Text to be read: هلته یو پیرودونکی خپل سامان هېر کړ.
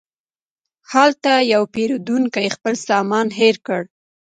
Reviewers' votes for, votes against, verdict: 1, 2, rejected